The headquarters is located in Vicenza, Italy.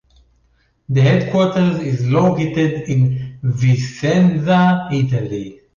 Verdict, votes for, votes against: accepted, 2, 0